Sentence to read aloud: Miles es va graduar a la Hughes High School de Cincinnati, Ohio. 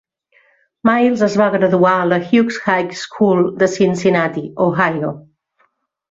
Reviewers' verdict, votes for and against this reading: accepted, 3, 0